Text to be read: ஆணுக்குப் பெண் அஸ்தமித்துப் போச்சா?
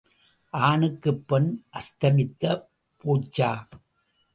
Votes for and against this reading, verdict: 1, 2, rejected